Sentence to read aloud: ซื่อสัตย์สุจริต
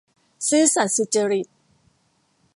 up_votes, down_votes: 2, 0